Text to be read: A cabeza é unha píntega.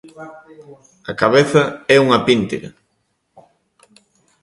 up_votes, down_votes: 2, 1